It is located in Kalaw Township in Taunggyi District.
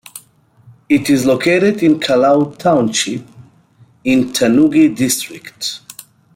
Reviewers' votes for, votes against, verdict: 0, 2, rejected